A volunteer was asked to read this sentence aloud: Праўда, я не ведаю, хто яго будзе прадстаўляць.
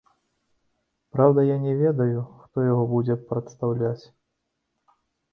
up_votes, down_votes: 2, 0